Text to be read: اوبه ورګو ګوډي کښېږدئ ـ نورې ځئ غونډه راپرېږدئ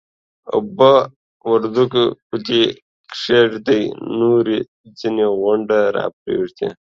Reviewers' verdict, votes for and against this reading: rejected, 1, 2